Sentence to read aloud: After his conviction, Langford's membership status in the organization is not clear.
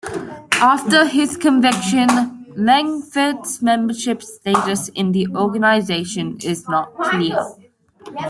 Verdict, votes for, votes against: accepted, 2, 0